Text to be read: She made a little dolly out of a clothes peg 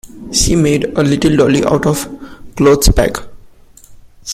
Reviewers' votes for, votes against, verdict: 1, 2, rejected